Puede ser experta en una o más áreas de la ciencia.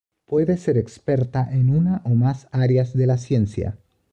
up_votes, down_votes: 2, 0